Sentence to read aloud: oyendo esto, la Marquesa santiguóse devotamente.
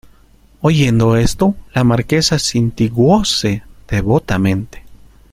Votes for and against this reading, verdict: 0, 2, rejected